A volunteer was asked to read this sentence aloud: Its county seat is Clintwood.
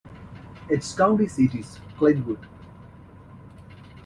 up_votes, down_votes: 2, 1